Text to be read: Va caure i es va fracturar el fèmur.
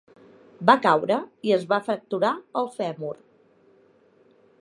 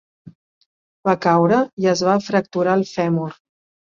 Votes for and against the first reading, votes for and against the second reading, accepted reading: 1, 2, 3, 0, second